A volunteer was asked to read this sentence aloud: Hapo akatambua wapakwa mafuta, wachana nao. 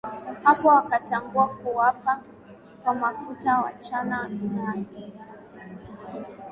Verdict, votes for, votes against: accepted, 2, 0